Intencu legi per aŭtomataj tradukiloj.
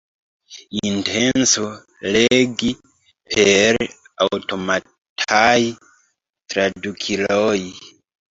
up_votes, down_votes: 1, 2